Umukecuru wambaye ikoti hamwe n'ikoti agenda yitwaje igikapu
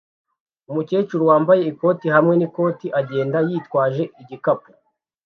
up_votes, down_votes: 2, 0